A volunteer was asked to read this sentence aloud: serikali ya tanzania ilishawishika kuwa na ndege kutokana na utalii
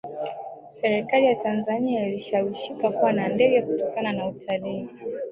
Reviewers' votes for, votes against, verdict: 1, 2, rejected